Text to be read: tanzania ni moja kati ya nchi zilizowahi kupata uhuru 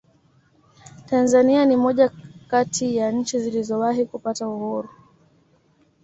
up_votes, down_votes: 1, 2